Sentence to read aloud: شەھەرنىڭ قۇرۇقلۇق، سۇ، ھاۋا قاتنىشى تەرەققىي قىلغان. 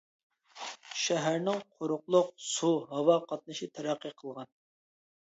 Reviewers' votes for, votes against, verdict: 2, 0, accepted